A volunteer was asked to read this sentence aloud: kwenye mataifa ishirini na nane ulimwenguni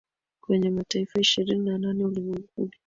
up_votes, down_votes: 2, 1